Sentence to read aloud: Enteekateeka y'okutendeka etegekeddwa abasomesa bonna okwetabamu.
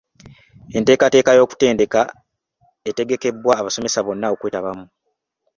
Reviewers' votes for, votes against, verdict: 1, 2, rejected